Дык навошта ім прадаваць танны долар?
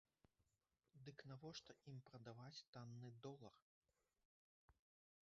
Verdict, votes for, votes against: rejected, 1, 2